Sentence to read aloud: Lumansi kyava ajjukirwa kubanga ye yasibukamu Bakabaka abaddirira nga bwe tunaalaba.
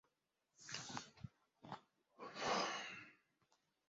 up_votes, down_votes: 0, 2